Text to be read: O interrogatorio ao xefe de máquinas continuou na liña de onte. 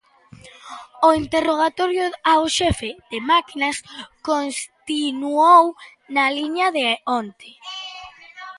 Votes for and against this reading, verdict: 1, 2, rejected